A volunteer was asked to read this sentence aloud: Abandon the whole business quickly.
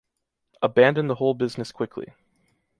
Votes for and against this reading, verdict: 2, 0, accepted